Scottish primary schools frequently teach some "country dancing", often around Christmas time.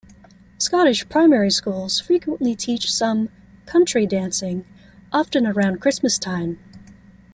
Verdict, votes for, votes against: accepted, 2, 0